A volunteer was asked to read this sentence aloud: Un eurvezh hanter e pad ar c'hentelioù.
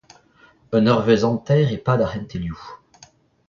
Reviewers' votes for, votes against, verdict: 1, 2, rejected